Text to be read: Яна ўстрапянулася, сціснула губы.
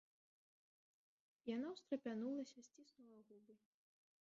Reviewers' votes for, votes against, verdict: 0, 2, rejected